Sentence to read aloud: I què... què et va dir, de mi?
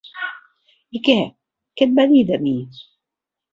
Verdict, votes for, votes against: accepted, 3, 0